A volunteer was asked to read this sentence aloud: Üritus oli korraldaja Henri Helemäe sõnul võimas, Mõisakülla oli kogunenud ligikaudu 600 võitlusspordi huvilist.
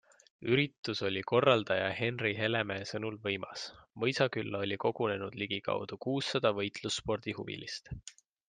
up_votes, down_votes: 0, 2